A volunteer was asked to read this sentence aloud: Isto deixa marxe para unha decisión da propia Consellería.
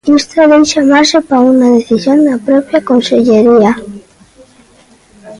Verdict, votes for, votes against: rejected, 1, 2